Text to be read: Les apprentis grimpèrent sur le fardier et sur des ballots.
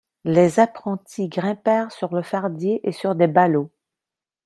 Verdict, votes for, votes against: accepted, 2, 0